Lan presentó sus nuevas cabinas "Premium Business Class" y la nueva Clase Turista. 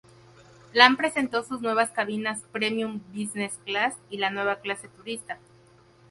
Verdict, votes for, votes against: rejected, 2, 2